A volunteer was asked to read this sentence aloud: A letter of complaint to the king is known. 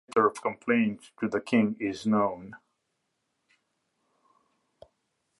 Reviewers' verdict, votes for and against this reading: accepted, 2, 0